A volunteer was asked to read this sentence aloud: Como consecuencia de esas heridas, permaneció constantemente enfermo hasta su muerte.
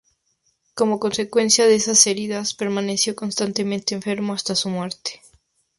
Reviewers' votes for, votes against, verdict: 6, 0, accepted